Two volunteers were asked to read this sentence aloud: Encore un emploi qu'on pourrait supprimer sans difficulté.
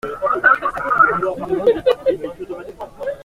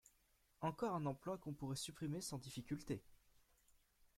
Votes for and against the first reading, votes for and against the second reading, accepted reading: 0, 2, 2, 0, second